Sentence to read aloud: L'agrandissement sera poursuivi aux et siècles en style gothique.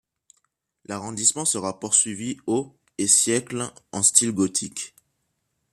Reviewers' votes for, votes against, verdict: 2, 0, accepted